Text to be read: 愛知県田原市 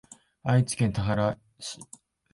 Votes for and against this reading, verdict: 4, 0, accepted